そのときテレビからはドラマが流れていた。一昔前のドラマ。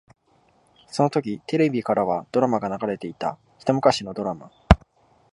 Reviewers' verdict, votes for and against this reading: rejected, 0, 2